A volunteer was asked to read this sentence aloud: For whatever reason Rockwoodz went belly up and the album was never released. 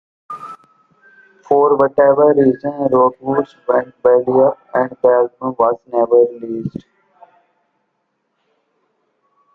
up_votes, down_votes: 2, 0